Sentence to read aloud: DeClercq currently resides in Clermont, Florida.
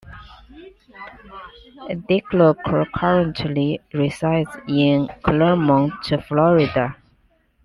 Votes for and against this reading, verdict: 2, 0, accepted